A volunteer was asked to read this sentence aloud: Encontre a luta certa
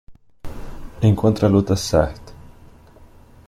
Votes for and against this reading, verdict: 2, 0, accepted